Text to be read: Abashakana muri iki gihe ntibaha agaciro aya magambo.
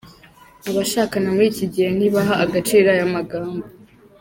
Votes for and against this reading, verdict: 1, 2, rejected